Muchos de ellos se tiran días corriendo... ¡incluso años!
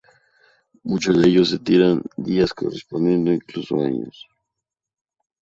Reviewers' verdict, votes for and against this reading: rejected, 0, 2